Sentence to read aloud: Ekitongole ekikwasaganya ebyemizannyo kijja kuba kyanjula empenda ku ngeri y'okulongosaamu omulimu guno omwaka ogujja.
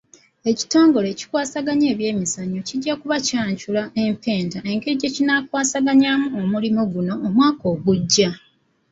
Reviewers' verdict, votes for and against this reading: rejected, 1, 2